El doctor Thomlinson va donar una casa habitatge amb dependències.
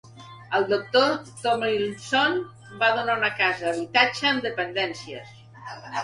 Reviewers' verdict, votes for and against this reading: accepted, 2, 1